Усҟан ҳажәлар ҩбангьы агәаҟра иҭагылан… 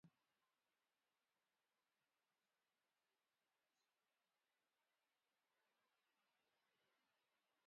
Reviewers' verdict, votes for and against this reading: rejected, 1, 2